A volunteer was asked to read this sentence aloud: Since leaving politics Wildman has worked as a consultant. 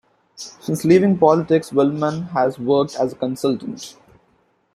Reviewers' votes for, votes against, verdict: 2, 0, accepted